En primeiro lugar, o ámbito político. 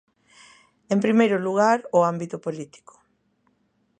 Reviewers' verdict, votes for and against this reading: accepted, 2, 0